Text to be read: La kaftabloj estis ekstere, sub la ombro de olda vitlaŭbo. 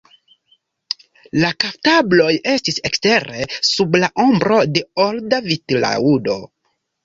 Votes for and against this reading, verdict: 1, 2, rejected